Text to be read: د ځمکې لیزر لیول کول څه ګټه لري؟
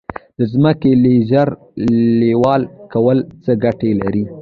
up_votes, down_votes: 1, 2